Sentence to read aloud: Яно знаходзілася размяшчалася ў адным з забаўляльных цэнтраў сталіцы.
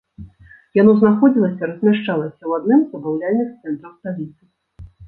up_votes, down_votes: 1, 2